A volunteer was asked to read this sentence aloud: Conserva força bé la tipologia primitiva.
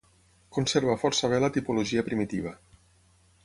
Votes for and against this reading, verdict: 6, 0, accepted